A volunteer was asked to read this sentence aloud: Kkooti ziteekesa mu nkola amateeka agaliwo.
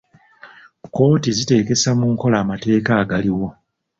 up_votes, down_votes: 2, 0